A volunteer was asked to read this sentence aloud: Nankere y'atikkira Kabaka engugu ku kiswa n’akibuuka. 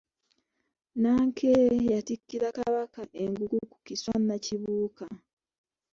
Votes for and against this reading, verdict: 1, 2, rejected